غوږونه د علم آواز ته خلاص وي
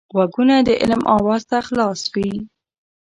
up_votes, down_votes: 0, 2